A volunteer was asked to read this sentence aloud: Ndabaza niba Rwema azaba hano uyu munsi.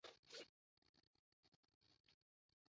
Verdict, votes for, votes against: rejected, 0, 2